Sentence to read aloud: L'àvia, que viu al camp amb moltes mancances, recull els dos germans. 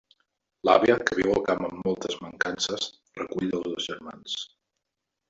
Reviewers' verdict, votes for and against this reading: rejected, 0, 2